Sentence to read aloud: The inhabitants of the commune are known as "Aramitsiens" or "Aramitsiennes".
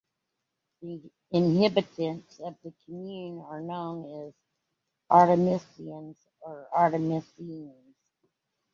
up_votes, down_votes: 0, 2